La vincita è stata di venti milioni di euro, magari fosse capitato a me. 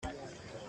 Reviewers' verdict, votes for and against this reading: rejected, 0, 2